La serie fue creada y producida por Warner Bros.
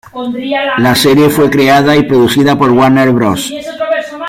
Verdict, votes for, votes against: rejected, 1, 2